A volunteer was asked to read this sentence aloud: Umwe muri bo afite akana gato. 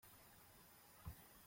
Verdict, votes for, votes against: rejected, 0, 2